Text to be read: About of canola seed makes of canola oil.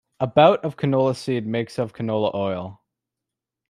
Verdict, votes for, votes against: accepted, 2, 0